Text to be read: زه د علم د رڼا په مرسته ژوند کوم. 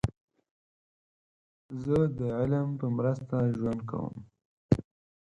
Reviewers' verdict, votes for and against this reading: rejected, 2, 4